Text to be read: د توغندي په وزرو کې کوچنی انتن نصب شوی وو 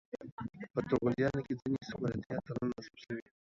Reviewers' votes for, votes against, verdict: 0, 2, rejected